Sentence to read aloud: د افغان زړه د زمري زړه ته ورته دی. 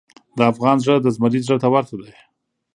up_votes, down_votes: 2, 0